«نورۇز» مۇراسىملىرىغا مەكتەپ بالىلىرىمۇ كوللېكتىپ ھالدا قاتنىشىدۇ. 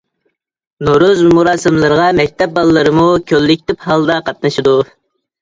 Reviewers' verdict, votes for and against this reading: accepted, 2, 0